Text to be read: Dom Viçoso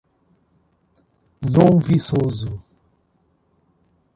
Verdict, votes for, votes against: rejected, 1, 2